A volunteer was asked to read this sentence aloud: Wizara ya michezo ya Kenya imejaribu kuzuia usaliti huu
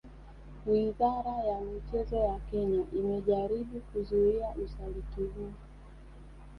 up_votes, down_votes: 3, 0